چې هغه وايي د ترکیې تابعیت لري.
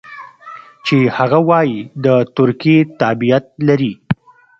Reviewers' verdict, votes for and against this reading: accepted, 2, 0